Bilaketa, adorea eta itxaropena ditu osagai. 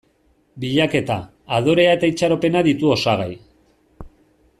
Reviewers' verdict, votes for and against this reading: accepted, 2, 0